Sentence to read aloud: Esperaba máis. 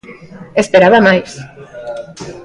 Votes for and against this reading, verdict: 2, 0, accepted